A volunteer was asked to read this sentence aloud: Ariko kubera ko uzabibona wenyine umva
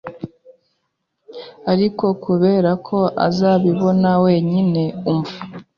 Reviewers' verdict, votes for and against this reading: accepted, 2, 1